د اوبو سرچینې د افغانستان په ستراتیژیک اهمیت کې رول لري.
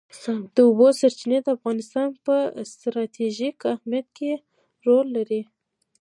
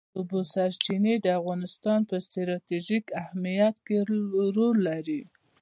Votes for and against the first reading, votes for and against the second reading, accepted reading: 2, 1, 0, 2, first